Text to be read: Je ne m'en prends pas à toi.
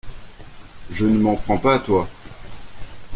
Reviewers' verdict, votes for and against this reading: accepted, 2, 0